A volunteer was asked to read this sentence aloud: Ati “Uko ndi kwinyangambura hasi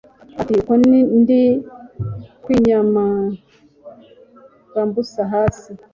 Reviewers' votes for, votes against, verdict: 0, 2, rejected